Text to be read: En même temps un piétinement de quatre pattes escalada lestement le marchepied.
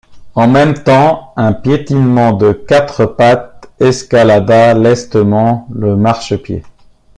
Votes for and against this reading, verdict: 2, 0, accepted